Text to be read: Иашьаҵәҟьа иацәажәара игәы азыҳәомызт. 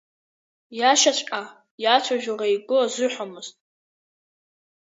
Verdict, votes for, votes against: accepted, 2, 1